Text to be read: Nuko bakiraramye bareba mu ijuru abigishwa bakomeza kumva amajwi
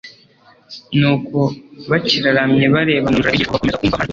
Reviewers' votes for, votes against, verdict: 2, 3, rejected